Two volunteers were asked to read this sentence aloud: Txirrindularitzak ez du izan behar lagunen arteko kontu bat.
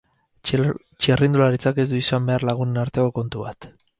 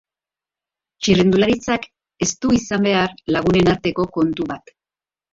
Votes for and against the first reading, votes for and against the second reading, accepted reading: 0, 4, 3, 0, second